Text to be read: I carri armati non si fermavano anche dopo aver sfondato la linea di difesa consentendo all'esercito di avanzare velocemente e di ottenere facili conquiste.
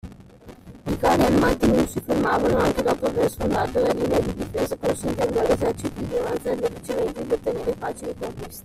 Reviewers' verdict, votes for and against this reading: rejected, 0, 2